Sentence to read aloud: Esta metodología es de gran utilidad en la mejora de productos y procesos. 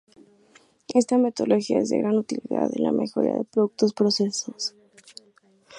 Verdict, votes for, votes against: rejected, 0, 2